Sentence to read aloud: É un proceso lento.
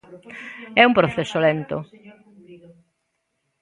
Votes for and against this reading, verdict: 0, 2, rejected